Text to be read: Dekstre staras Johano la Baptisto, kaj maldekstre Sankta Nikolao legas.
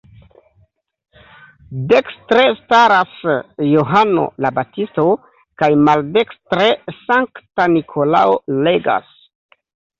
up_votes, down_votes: 2, 0